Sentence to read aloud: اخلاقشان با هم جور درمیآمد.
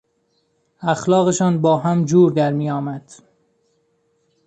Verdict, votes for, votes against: accepted, 2, 0